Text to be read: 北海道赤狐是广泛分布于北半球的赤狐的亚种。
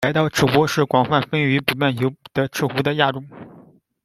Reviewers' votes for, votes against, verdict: 0, 2, rejected